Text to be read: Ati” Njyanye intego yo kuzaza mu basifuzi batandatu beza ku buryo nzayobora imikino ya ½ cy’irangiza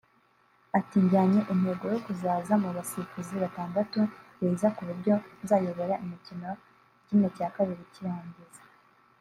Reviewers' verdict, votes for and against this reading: accepted, 2, 1